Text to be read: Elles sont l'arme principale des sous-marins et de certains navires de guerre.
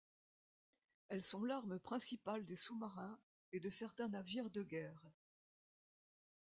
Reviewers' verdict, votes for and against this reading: accepted, 2, 0